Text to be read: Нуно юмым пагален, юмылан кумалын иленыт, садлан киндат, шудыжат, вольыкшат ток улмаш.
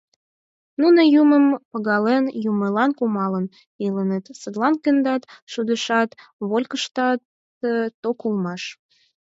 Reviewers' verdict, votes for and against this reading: rejected, 4, 6